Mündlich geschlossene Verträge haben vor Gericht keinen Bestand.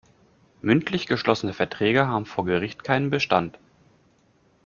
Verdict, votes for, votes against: accepted, 2, 0